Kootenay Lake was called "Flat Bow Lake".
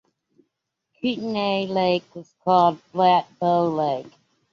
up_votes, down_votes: 2, 0